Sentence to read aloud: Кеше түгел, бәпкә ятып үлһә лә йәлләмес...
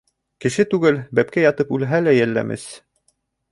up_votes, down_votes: 3, 0